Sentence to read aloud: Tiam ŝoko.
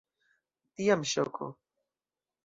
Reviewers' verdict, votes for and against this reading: accepted, 2, 0